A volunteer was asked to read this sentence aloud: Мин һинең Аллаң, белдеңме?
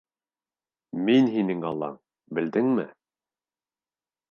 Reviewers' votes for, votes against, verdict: 2, 0, accepted